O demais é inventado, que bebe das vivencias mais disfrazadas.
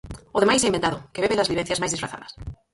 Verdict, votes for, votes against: rejected, 0, 4